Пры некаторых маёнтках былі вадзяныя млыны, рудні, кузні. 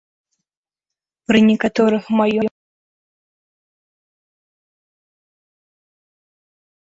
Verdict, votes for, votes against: rejected, 0, 2